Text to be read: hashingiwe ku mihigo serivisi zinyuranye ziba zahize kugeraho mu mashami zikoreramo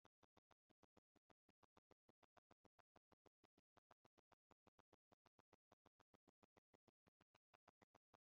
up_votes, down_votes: 0, 2